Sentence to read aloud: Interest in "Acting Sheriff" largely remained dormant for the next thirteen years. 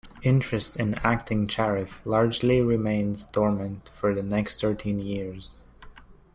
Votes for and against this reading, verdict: 0, 2, rejected